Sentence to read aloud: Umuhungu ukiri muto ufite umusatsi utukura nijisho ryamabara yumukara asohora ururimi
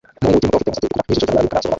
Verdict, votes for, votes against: rejected, 0, 2